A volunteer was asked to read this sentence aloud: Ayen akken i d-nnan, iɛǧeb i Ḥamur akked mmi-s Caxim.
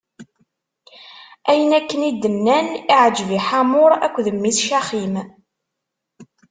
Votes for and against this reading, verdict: 2, 0, accepted